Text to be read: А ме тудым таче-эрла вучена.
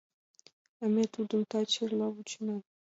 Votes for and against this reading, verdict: 2, 0, accepted